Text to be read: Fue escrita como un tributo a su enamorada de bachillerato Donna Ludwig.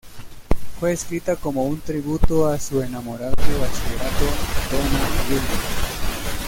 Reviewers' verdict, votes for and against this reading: rejected, 0, 2